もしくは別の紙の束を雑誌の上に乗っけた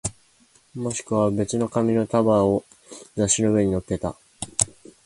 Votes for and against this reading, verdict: 2, 0, accepted